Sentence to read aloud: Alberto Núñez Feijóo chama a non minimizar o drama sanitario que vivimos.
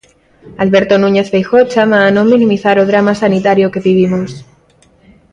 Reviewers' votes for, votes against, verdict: 2, 1, accepted